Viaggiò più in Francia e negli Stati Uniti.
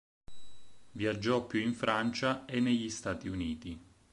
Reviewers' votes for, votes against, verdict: 6, 0, accepted